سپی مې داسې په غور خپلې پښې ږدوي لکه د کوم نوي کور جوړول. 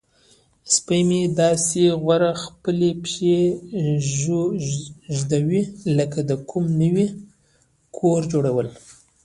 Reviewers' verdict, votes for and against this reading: rejected, 0, 2